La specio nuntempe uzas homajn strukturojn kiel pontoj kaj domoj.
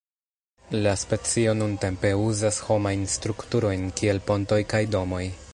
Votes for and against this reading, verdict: 1, 2, rejected